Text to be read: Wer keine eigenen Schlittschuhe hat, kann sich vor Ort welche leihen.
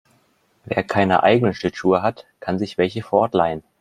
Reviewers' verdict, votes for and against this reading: rejected, 0, 2